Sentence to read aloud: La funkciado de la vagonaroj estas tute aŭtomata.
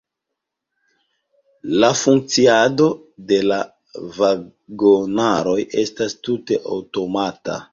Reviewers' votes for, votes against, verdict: 1, 2, rejected